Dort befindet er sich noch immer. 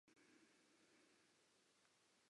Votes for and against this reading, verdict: 0, 4, rejected